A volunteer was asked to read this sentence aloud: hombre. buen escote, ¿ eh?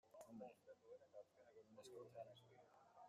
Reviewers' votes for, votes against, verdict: 0, 2, rejected